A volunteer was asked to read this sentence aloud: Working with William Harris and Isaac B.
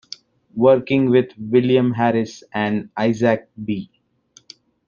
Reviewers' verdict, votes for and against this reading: accepted, 2, 0